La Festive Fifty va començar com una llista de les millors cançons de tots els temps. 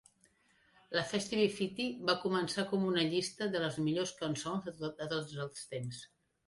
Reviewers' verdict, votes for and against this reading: rejected, 0, 2